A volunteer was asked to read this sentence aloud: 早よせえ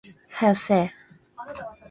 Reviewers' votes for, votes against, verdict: 2, 0, accepted